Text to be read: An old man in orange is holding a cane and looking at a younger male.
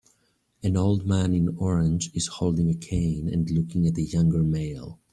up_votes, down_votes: 2, 0